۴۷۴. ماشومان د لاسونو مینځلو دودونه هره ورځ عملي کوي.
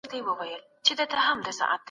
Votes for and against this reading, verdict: 0, 2, rejected